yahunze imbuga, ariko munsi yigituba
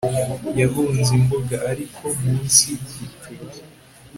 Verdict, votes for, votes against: accepted, 4, 0